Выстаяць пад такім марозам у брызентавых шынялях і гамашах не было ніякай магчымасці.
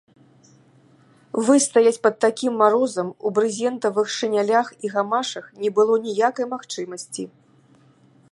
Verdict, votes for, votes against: accepted, 2, 0